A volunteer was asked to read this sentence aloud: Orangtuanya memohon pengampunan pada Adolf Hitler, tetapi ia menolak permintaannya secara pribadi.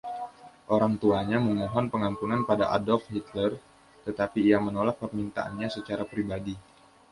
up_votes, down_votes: 2, 0